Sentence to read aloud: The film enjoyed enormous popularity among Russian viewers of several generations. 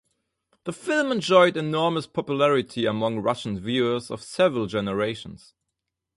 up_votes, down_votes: 2, 2